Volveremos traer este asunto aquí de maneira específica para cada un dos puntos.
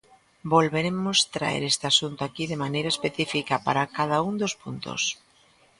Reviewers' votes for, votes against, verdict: 2, 0, accepted